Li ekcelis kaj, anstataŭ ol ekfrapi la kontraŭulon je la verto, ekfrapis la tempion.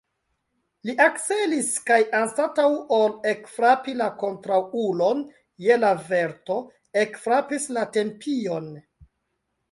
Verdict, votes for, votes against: accepted, 2, 0